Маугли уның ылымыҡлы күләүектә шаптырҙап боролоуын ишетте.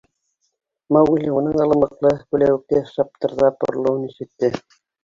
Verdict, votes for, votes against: rejected, 0, 2